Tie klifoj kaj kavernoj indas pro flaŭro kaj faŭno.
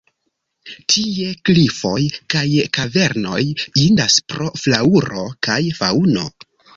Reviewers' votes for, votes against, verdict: 1, 2, rejected